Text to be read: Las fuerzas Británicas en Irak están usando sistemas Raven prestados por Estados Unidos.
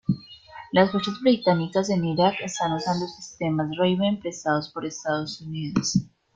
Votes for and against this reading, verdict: 1, 2, rejected